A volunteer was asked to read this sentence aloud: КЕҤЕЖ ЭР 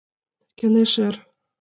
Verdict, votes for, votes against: accepted, 2, 1